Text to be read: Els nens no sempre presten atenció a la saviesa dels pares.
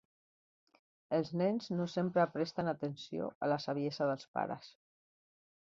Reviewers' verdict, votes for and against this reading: rejected, 0, 2